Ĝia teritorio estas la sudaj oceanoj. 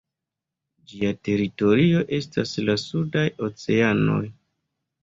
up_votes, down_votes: 2, 0